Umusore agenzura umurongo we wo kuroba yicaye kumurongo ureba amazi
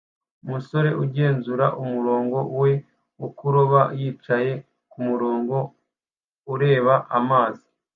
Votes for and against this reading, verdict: 2, 1, accepted